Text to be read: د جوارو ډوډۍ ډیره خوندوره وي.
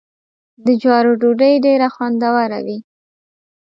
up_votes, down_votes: 2, 0